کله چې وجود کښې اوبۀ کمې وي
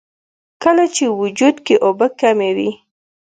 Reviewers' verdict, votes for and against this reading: accepted, 2, 0